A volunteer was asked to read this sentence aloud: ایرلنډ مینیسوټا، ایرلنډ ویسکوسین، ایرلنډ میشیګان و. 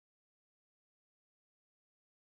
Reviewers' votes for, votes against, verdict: 1, 2, rejected